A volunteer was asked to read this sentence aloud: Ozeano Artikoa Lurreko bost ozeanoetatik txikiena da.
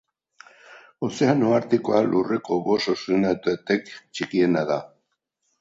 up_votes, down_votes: 2, 2